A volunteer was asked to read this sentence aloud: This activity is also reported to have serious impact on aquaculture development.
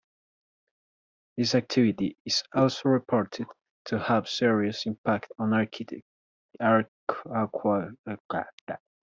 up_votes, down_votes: 0, 2